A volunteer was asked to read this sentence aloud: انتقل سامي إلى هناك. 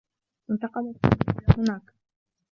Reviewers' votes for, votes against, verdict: 0, 2, rejected